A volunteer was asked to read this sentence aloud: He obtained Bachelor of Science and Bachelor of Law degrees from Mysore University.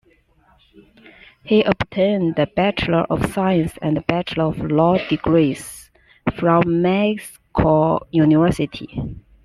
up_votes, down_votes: 0, 2